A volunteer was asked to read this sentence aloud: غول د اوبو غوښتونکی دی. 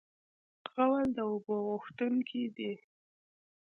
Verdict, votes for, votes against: rejected, 1, 2